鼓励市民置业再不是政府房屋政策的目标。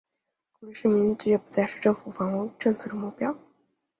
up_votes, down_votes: 1, 2